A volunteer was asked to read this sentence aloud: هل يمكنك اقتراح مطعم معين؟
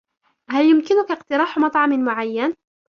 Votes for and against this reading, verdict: 2, 0, accepted